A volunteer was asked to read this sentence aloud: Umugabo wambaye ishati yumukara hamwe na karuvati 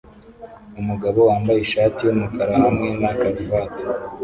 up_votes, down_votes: 2, 0